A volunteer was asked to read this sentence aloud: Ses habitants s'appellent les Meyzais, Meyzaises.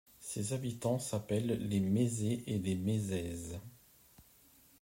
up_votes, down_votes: 1, 2